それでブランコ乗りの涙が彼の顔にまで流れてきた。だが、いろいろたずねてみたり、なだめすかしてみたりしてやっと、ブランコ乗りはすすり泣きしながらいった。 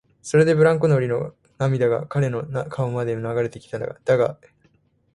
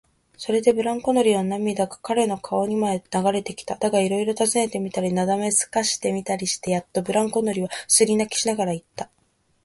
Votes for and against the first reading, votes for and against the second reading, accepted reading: 1, 2, 8, 2, second